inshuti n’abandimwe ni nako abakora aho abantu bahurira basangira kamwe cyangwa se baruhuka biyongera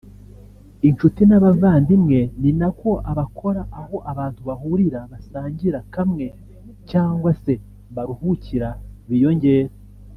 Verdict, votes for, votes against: rejected, 1, 2